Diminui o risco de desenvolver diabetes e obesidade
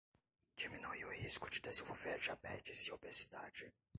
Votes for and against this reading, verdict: 1, 2, rejected